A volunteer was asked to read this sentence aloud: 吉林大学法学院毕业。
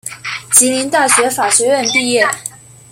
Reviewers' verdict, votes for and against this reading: accepted, 2, 1